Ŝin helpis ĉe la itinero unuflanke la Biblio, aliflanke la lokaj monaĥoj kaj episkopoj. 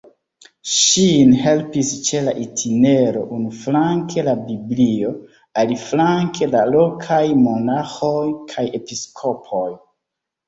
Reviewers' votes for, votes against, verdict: 3, 1, accepted